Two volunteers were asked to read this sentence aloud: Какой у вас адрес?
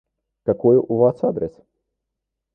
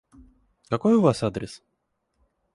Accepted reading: second